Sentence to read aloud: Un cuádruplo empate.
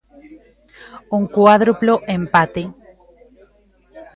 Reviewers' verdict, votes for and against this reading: rejected, 0, 2